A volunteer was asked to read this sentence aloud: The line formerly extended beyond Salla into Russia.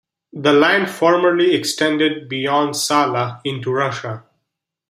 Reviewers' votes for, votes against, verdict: 1, 2, rejected